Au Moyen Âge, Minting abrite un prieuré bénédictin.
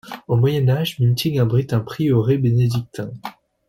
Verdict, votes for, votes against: accepted, 2, 0